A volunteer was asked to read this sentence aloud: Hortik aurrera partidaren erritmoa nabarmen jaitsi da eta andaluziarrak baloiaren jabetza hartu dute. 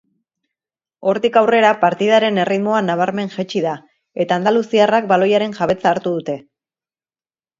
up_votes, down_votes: 2, 0